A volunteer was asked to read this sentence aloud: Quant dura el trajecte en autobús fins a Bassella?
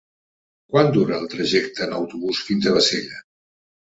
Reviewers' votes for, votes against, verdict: 2, 0, accepted